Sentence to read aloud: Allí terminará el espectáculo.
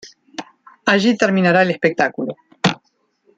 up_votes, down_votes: 1, 2